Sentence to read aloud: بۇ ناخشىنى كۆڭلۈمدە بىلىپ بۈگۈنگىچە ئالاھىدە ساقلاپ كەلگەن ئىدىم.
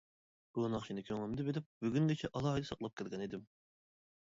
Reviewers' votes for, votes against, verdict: 2, 1, accepted